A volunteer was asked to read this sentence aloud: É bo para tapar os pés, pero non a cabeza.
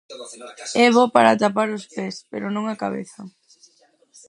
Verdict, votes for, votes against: rejected, 0, 4